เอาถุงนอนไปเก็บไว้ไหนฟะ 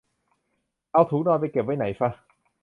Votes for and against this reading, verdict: 2, 0, accepted